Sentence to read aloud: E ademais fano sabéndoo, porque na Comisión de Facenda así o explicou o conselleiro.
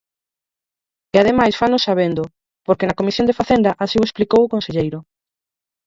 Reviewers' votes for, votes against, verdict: 2, 4, rejected